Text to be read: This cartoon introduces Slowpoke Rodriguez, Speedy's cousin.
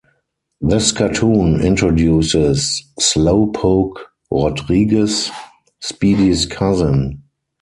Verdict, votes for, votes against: accepted, 4, 0